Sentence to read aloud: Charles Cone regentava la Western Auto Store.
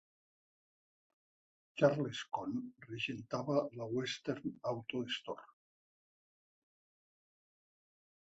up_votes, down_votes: 1, 2